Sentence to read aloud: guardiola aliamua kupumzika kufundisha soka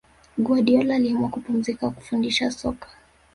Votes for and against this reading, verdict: 4, 1, accepted